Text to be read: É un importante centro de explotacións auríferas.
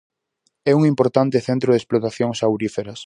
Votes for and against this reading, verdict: 4, 0, accepted